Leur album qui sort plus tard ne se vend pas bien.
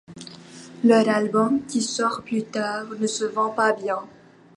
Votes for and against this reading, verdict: 2, 0, accepted